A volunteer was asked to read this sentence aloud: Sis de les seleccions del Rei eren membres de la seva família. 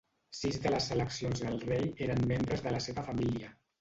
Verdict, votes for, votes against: rejected, 0, 2